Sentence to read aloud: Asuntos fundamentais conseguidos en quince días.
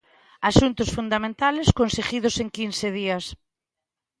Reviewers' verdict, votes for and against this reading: rejected, 1, 2